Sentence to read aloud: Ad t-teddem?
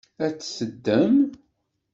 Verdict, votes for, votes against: rejected, 1, 2